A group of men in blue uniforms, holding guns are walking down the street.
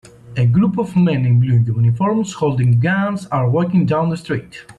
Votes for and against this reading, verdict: 2, 0, accepted